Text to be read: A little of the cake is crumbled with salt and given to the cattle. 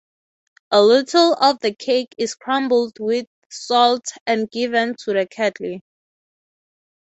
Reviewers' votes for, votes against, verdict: 3, 0, accepted